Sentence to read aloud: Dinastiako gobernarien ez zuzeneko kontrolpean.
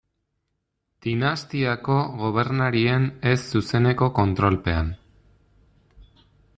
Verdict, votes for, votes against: rejected, 1, 2